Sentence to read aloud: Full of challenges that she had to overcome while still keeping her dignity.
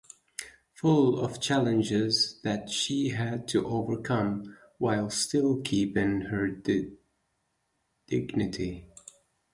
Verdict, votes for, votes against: rejected, 0, 4